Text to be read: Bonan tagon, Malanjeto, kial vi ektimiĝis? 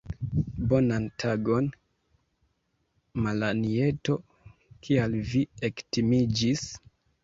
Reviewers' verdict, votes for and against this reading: accepted, 2, 0